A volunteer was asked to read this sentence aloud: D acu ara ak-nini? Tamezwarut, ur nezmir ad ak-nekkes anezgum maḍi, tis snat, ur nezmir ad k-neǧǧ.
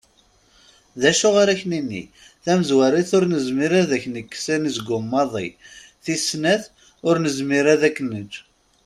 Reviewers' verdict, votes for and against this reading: accepted, 2, 0